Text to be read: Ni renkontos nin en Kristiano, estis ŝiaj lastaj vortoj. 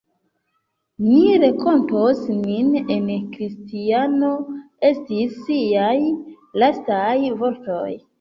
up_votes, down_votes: 0, 2